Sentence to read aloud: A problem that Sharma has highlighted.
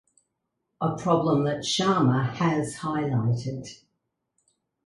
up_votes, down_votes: 4, 0